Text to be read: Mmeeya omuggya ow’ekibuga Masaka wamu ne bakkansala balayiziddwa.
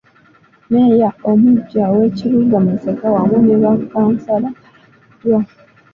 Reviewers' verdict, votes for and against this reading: rejected, 1, 2